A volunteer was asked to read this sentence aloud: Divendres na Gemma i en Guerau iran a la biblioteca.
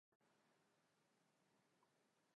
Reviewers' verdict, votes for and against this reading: rejected, 0, 2